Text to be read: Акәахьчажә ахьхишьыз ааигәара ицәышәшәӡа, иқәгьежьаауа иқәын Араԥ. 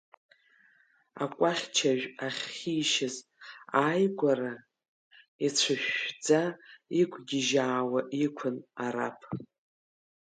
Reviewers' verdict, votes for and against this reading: rejected, 1, 2